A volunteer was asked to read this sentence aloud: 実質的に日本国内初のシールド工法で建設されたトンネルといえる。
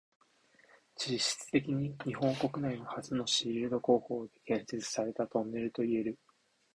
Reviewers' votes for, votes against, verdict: 2, 0, accepted